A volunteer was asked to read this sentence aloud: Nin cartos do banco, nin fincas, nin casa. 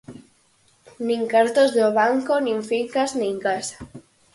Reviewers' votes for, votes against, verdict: 4, 0, accepted